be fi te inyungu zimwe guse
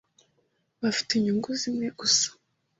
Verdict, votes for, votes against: rejected, 0, 2